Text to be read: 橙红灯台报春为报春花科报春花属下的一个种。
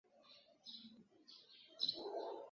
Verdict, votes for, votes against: rejected, 1, 2